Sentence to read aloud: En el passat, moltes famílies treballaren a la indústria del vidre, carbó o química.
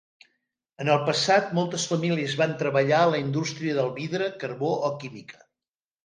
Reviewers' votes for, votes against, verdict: 0, 2, rejected